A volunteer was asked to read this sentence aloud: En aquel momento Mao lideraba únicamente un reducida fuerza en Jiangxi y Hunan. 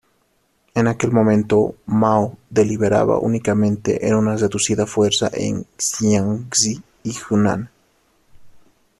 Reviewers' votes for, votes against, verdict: 0, 2, rejected